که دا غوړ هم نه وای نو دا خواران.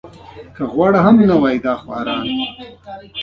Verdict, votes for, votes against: rejected, 0, 2